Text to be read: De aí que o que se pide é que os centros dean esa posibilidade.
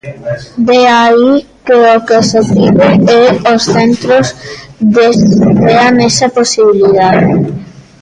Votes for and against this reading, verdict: 0, 2, rejected